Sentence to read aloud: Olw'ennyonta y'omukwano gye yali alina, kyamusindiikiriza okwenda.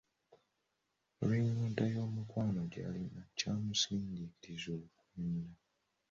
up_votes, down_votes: 2, 0